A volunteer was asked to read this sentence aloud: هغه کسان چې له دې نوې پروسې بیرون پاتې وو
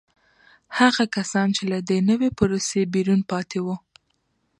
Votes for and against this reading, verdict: 2, 0, accepted